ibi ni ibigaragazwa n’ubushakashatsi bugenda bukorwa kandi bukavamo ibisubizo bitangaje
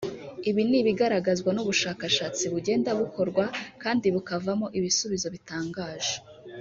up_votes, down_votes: 0, 2